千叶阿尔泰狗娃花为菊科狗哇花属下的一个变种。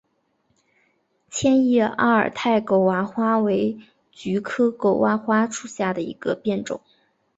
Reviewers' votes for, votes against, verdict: 3, 2, accepted